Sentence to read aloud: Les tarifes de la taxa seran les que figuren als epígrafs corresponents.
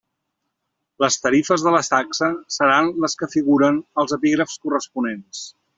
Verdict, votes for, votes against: rejected, 0, 2